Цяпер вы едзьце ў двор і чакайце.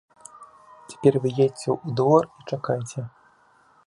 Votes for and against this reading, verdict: 2, 0, accepted